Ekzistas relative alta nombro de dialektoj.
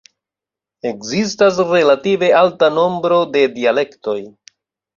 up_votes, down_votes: 2, 0